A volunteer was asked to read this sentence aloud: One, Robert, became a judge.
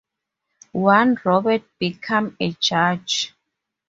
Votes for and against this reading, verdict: 0, 2, rejected